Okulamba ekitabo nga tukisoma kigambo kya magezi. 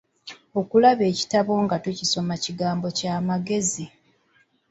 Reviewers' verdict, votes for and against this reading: rejected, 0, 2